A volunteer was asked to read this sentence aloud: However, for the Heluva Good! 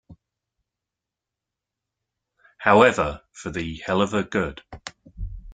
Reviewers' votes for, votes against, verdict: 3, 0, accepted